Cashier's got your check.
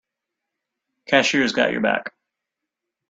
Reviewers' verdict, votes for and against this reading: rejected, 0, 2